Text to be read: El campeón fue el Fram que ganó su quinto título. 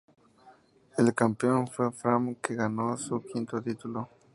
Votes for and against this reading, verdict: 0, 2, rejected